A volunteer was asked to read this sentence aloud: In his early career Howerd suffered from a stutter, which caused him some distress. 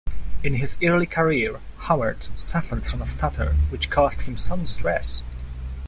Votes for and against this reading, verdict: 0, 2, rejected